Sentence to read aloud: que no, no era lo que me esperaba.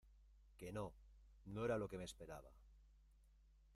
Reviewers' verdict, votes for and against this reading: rejected, 0, 2